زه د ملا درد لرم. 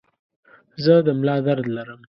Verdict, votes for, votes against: accepted, 2, 0